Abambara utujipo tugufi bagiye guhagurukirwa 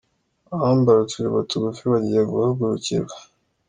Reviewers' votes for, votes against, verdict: 2, 0, accepted